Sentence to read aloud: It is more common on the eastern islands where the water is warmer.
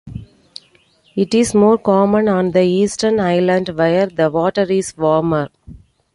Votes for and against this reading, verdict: 2, 1, accepted